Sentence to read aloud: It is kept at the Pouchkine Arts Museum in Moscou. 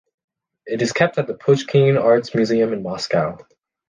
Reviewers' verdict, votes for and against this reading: accepted, 2, 1